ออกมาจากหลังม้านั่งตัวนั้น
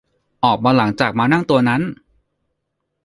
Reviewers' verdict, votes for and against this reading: accepted, 2, 1